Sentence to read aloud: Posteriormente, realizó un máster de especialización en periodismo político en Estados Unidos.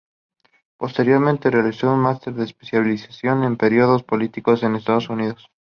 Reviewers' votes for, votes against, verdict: 0, 2, rejected